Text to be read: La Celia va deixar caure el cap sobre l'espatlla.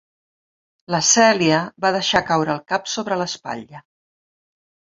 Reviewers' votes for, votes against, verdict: 3, 0, accepted